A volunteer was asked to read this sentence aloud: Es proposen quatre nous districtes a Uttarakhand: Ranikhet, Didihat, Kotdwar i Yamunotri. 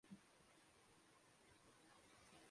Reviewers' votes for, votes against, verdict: 0, 2, rejected